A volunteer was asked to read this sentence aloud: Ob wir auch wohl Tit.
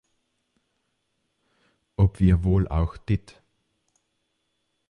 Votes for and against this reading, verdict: 1, 2, rejected